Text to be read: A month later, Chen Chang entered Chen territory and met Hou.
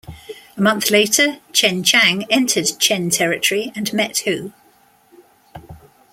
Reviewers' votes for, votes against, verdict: 2, 0, accepted